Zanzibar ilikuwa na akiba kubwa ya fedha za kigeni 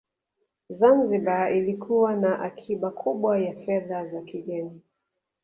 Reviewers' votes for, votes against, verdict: 0, 2, rejected